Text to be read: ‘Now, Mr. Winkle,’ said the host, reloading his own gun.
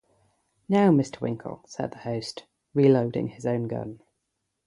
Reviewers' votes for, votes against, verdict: 0, 3, rejected